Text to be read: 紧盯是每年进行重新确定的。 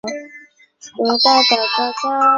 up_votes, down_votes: 0, 2